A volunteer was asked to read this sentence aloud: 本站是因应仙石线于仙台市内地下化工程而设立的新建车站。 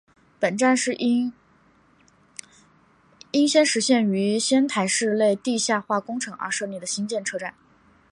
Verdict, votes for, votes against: accepted, 2, 1